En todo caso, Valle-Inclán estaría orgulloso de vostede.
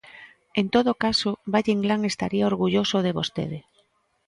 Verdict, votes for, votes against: rejected, 0, 2